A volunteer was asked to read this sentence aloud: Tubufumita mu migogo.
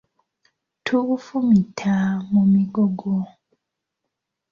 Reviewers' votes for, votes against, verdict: 1, 2, rejected